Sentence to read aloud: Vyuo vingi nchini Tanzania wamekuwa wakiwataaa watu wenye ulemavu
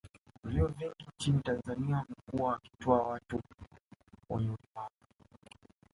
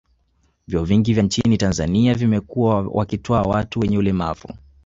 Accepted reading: first